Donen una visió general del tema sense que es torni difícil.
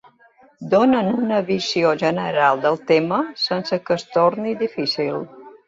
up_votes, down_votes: 2, 0